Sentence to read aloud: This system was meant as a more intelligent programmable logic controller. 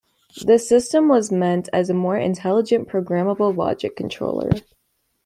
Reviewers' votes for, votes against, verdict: 2, 0, accepted